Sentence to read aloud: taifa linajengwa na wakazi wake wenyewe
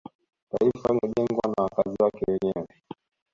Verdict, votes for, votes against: accepted, 2, 0